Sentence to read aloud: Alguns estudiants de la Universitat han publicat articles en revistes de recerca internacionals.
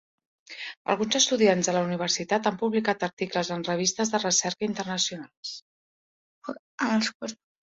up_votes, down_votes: 2, 0